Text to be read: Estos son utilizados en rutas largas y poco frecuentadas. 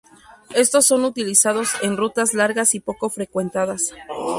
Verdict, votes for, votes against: accepted, 2, 0